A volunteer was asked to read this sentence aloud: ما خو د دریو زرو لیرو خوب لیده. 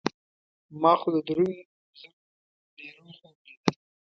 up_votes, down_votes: 0, 2